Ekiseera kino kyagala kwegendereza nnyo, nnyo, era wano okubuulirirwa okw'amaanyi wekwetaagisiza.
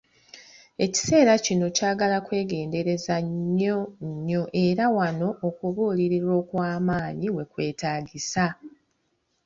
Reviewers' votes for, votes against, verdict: 2, 1, accepted